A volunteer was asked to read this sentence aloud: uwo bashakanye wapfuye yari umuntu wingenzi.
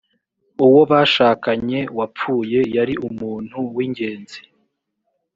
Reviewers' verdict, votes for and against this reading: accepted, 2, 0